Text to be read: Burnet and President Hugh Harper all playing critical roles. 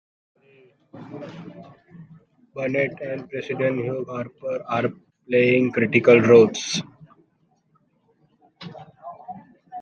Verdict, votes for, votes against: rejected, 1, 2